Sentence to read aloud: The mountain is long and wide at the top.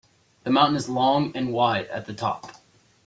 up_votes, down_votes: 0, 2